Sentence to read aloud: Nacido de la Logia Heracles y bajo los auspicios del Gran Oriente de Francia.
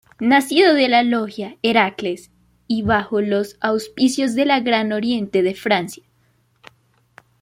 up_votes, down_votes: 2, 1